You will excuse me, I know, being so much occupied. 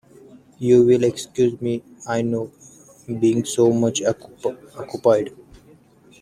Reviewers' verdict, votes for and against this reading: rejected, 0, 2